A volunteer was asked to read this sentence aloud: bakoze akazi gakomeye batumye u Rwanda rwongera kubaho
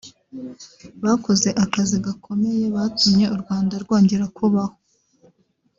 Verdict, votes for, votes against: rejected, 1, 2